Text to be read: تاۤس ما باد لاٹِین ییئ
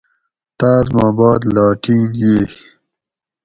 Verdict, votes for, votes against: accepted, 4, 0